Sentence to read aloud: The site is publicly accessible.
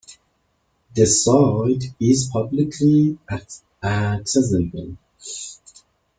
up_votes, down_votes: 2, 1